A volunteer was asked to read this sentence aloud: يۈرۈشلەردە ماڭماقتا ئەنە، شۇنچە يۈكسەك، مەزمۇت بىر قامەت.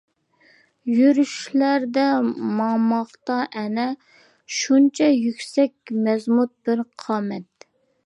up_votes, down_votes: 2, 0